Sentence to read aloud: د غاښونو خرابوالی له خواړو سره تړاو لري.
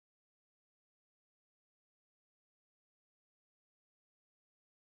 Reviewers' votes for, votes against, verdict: 0, 2, rejected